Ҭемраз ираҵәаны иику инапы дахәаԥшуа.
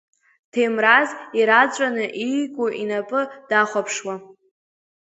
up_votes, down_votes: 2, 1